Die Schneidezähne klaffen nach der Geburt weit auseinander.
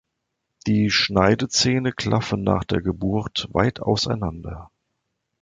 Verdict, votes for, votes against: accepted, 2, 0